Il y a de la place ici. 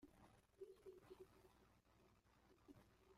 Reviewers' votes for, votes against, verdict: 0, 2, rejected